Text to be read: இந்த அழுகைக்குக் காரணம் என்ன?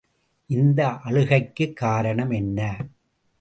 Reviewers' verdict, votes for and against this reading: accepted, 2, 0